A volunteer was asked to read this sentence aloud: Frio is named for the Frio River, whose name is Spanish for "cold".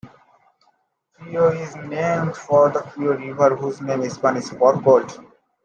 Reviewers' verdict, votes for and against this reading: rejected, 1, 2